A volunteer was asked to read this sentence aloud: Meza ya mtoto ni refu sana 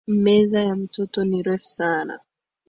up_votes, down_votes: 2, 1